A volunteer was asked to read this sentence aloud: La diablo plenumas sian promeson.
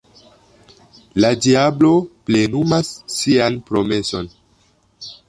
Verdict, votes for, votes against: rejected, 1, 2